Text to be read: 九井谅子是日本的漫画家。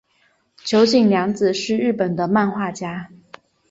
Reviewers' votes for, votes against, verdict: 2, 0, accepted